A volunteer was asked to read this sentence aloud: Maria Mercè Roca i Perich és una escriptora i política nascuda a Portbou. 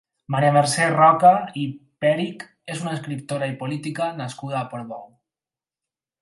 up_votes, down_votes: 4, 0